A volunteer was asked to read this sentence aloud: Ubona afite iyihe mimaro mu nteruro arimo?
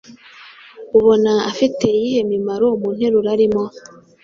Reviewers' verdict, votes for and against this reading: accepted, 2, 0